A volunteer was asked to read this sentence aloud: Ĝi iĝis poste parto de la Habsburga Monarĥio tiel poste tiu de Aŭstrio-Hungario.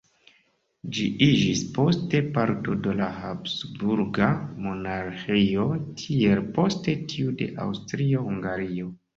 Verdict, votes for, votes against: accepted, 2, 1